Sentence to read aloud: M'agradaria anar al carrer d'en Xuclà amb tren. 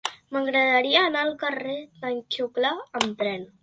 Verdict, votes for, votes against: rejected, 0, 2